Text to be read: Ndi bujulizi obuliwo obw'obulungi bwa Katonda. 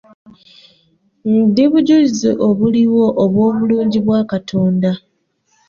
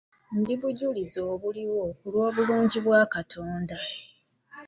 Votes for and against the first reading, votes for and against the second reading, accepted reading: 2, 1, 1, 2, first